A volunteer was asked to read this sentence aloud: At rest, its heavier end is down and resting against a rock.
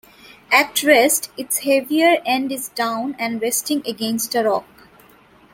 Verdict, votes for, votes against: accepted, 2, 0